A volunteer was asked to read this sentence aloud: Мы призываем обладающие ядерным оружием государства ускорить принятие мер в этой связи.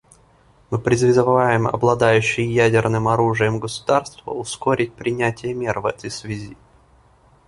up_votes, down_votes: 0, 2